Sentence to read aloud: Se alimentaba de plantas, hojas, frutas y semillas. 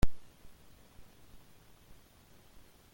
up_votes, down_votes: 0, 2